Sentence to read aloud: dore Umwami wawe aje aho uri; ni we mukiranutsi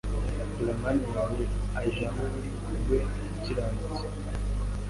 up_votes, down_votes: 0, 2